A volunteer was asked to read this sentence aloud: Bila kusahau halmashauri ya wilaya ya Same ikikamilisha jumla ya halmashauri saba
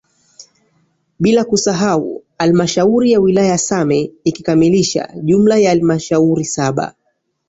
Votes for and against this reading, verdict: 3, 2, accepted